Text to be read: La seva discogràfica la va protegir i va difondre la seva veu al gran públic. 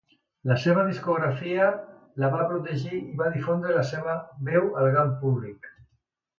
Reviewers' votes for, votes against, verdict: 2, 0, accepted